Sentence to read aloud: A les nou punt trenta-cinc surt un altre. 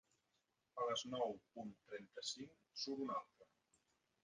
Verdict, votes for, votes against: rejected, 1, 2